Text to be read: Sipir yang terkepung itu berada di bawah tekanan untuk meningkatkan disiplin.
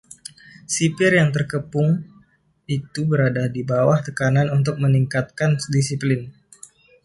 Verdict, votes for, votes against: accepted, 2, 0